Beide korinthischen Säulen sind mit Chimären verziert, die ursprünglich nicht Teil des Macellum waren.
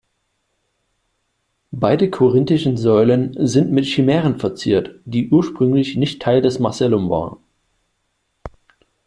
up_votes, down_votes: 2, 0